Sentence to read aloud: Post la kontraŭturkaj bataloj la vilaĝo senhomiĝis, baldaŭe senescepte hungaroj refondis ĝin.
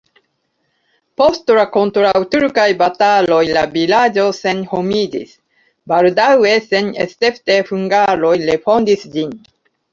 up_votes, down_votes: 0, 2